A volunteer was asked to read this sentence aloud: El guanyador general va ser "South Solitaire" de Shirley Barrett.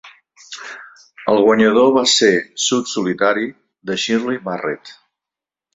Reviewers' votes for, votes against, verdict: 1, 3, rejected